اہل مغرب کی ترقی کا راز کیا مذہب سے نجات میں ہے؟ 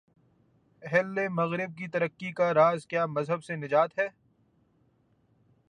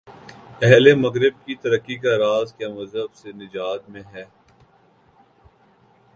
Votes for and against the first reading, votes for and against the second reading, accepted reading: 0, 2, 2, 1, second